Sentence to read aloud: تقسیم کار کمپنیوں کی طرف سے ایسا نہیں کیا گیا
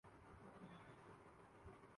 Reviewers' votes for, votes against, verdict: 0, 5, rejected